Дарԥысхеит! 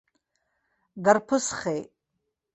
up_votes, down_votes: 2, 0